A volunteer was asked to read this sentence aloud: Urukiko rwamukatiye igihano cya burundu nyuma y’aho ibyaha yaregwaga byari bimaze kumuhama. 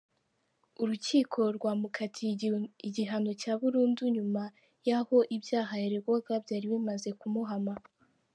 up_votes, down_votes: 0, 4